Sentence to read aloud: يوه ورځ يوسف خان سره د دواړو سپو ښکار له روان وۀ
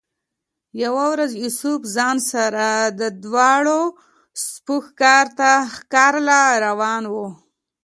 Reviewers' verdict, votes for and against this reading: accepted, 2, 1